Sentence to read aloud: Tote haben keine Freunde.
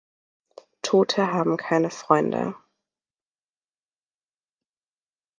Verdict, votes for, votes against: accepted, 2, 0